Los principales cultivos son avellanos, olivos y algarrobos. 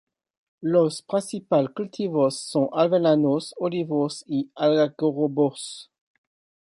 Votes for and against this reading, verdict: 1, 2, rejected